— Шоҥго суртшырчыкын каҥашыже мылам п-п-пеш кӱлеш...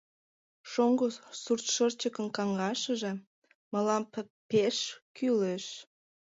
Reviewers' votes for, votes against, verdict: 1, 2, rejected